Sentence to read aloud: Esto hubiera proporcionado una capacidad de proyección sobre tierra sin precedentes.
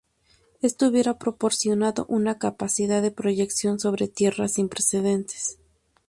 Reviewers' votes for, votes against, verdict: 2, 0, accepted